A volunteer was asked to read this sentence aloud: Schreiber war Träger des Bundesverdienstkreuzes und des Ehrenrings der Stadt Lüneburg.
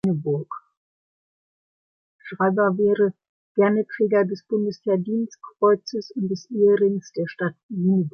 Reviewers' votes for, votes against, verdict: 0, 2, rejected